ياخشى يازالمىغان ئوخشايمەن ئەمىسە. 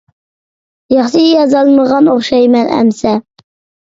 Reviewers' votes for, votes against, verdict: 2, 0, accepted